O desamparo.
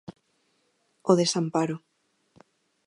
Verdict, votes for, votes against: accepted, 2, 0